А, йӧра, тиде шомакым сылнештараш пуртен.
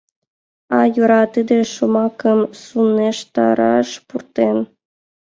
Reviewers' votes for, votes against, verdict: 2, 0, accepted